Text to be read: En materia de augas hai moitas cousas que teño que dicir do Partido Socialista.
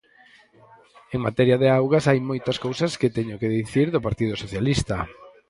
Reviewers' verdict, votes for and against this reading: accepted, 4, 0